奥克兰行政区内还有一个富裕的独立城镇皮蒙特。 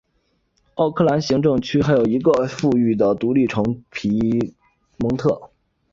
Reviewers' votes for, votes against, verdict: 0, 2, rejected